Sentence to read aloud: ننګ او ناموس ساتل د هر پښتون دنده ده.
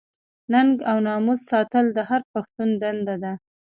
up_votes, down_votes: 1, 2